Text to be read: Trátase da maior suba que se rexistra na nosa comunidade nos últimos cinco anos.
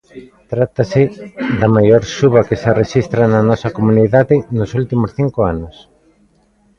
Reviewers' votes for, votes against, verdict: 2, 1, accepted